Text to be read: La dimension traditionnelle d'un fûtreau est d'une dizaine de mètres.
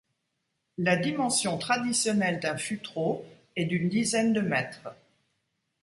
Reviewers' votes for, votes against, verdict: 2, 0, accepted